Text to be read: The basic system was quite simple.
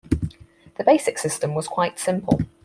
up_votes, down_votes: 4, 0